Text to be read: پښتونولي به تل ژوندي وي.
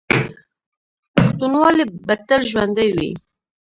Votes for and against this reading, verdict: 0, 2, rejected